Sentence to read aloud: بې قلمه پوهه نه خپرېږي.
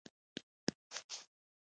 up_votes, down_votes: 1, 2